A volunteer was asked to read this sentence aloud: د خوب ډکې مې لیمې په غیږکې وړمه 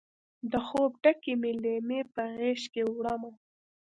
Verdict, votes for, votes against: accepted, 2, 0